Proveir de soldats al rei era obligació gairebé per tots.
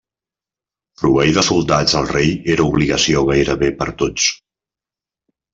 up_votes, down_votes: 3, 0